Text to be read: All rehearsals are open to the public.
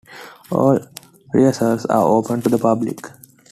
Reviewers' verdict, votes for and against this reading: accepted, 3, 1